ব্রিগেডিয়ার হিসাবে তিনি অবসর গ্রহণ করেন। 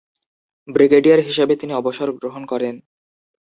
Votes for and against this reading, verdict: 6, 0, accepted